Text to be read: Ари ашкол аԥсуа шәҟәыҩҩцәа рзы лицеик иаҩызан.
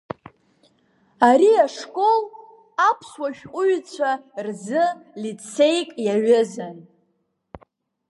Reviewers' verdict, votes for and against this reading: rejected, 0, 2